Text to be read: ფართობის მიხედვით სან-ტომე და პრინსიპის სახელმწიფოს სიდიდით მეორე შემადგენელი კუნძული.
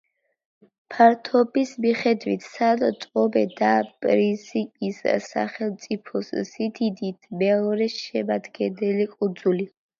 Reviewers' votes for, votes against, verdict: 0, 2, rejected